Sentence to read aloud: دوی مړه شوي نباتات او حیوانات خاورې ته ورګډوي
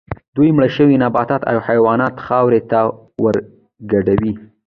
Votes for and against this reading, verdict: 0, 2, rejected